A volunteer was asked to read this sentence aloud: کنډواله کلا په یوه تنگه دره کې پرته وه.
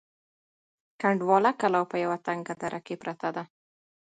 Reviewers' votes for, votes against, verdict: 2, 0, accepted